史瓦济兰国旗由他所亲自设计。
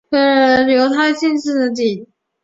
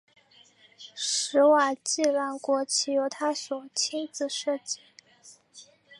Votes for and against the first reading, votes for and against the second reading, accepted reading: 0, 2, 2, 1, second